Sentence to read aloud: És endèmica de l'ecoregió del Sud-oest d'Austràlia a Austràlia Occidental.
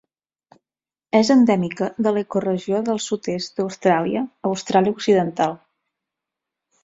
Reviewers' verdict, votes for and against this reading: rejected, 0, 4